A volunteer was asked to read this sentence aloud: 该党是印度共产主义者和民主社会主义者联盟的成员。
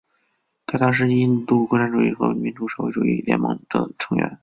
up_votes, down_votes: 2, 0